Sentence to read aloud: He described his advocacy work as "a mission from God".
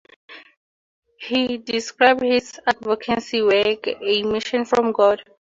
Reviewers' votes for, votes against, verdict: 2, 2, rejected